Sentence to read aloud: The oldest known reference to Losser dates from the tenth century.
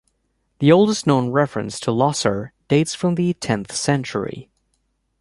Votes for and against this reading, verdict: 2, 0, accepted